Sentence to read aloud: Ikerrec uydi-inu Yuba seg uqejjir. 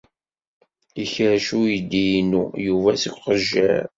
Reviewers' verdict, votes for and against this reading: accepted, 2, 1